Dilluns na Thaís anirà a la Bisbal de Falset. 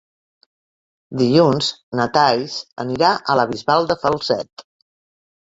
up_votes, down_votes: 2, 3